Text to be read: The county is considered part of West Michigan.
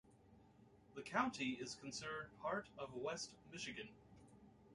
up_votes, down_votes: 2, 1